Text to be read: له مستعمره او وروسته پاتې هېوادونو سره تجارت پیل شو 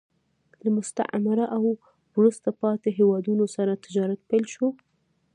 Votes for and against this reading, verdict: 2, 1, accepted